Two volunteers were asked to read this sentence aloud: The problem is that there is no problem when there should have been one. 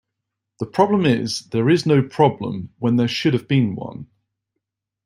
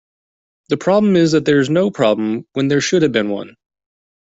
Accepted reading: second